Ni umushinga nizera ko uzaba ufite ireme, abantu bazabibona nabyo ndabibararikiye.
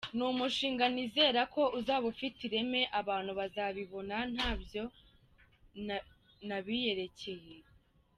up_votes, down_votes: 0, 2